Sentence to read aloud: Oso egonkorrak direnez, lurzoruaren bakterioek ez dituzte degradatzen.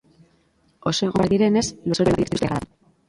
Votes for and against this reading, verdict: 0, 3, rejected